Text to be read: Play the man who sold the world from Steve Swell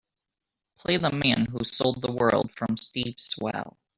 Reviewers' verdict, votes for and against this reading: accepted, 3, 0